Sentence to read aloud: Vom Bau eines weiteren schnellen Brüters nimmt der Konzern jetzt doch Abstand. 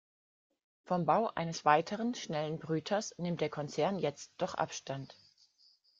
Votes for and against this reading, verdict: 3, 0, accepted